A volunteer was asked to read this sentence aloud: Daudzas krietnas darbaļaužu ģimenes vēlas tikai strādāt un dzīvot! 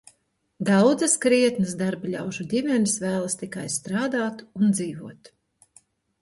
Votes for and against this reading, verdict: 2, 0, accepted